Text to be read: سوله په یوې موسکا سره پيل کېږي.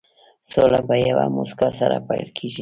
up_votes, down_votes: 2, 0